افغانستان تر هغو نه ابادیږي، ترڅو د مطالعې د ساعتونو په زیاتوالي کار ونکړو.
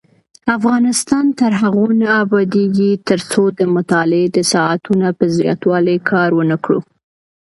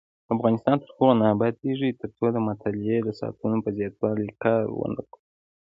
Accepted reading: first